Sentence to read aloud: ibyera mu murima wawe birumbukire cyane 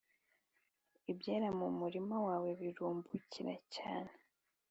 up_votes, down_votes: 3, 0